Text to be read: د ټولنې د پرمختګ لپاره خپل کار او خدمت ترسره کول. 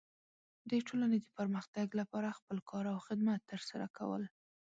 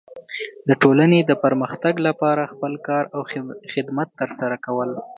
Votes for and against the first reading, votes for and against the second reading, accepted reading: 1, 3, 3, 0, second